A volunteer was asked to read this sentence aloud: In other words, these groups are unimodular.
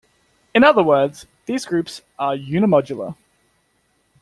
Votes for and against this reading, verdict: 2, 0, accepted